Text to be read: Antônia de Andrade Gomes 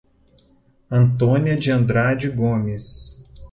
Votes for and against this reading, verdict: 2, 0, accepted